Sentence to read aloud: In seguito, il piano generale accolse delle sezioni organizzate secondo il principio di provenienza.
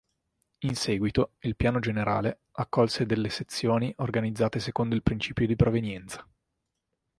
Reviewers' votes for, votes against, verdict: 4, 0, accepted